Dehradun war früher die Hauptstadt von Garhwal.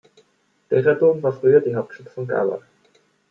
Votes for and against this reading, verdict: 0, 2, rejected